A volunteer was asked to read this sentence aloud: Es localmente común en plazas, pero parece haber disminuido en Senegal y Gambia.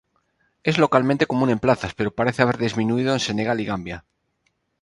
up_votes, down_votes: 4, 0